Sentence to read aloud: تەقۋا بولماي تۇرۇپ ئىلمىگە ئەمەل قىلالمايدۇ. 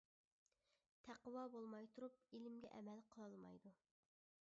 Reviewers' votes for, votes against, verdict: 0, 2, rejected